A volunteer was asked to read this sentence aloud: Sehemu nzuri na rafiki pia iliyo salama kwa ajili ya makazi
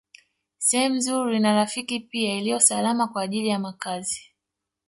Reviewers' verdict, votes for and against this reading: rejected, 0, 2